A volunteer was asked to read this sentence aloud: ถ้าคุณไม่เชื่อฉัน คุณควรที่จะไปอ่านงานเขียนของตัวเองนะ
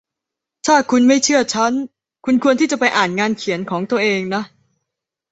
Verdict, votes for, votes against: accepted, 2, 0